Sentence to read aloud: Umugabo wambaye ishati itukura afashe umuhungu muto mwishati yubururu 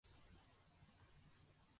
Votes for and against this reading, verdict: 0, 2, rejected